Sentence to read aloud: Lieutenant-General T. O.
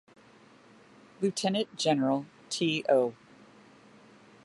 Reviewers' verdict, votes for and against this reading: accepted, 2, 1